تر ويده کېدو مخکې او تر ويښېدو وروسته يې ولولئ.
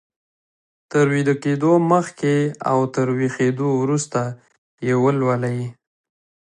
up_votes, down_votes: 2, 1